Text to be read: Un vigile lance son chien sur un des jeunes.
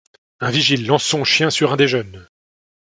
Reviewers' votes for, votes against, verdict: 2, 0, accepted